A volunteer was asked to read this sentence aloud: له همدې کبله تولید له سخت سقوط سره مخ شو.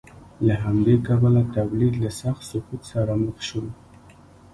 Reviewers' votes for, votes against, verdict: 1, 2, rejected